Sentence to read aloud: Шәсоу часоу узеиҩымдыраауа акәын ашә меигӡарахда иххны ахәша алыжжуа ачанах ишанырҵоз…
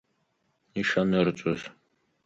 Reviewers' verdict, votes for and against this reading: rejected, 0, 4